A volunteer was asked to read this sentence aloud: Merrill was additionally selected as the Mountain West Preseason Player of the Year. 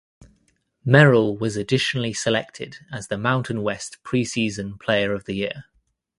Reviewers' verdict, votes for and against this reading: accepted, 2, 0